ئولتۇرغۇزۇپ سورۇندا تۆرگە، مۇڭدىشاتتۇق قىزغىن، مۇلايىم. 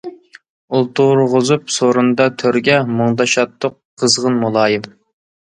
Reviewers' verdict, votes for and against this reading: accepted, 2, 0